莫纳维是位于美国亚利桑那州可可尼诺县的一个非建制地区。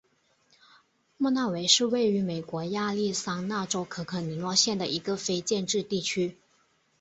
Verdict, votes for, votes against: accepted, 2, 0